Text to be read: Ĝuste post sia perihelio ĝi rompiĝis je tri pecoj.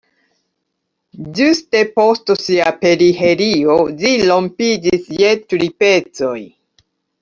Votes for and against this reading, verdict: 0, 2, rejected